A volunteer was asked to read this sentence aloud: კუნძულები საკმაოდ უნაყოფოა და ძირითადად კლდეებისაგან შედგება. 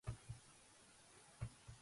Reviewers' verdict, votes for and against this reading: rejected, 0, 4